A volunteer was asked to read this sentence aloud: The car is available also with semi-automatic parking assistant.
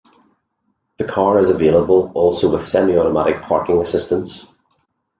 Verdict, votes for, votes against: rejected, 0, 2